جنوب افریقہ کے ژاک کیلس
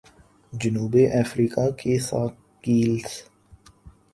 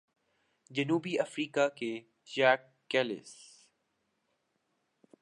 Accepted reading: second